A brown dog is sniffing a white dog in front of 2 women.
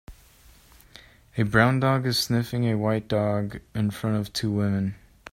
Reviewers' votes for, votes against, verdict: 0, 2, rejected